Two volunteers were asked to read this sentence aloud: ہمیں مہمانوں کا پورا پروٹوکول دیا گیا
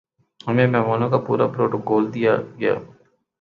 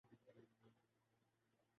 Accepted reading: first